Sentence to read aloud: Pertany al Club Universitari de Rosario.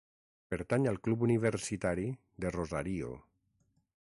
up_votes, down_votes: 0, 6